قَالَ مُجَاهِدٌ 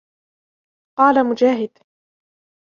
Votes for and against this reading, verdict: 2, 1, accepted